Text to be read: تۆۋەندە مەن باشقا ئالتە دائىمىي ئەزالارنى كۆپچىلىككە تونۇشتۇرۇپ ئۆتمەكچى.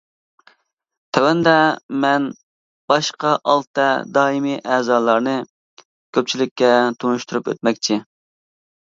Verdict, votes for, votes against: accepted, 2, 0